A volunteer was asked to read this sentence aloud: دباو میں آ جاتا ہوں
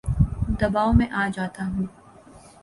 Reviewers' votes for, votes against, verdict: 2, 0, accepted